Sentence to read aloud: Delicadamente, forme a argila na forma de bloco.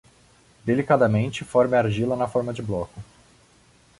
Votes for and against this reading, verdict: 2, 0, accepted